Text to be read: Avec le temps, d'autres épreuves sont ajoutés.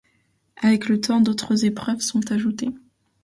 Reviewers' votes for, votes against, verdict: 2, 1, accepted